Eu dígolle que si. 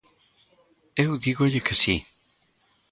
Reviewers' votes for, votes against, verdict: 2, 0, accepted